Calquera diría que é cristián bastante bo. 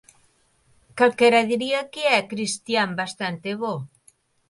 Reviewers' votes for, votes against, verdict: 2, 0, accepted